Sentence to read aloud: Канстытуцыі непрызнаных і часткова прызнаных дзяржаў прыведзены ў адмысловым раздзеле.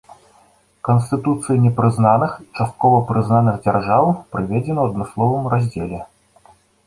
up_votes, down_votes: 2, 0